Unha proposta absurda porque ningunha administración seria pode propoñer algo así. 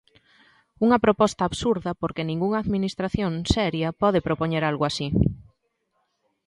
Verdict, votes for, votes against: accepted, 2, 0